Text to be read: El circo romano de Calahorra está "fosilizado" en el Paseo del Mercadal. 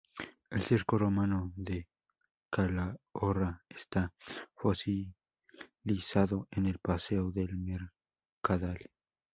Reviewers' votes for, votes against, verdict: 2, 0, accepted